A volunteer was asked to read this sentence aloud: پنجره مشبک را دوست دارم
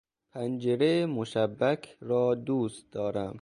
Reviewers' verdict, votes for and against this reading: accepted, 2, 0